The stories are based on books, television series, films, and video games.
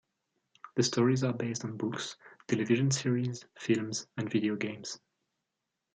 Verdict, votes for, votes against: accepted, 2, 0